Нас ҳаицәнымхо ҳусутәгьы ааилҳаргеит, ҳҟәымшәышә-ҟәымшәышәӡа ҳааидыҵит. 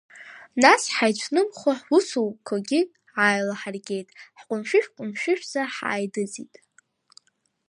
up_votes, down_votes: 0, 2